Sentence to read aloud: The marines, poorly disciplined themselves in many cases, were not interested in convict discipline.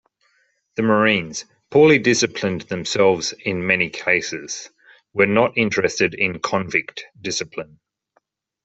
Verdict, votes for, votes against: accepted, 2, 0